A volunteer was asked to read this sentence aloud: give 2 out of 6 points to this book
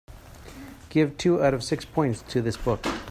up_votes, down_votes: 0, 2